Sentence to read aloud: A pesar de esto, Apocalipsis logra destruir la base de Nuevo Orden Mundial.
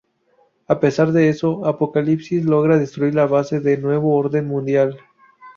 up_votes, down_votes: 0, 2